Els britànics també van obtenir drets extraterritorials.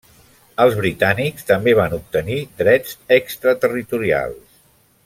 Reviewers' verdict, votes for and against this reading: accepted, 3, 0